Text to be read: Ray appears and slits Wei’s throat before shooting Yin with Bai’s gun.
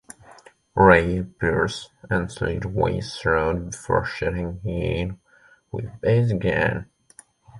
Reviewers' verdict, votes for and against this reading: rejected, 1, 2